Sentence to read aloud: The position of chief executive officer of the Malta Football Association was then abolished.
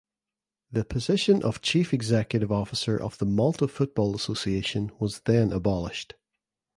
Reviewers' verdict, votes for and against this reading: accepted, 2, 0